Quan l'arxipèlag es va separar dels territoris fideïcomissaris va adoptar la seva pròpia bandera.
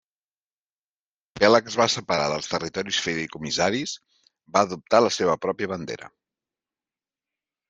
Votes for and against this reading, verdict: 0, 2, rejected